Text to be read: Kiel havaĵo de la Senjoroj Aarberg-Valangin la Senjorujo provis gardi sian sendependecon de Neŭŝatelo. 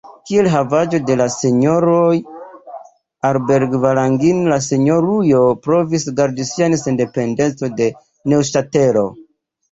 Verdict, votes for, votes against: accepted, 2, 0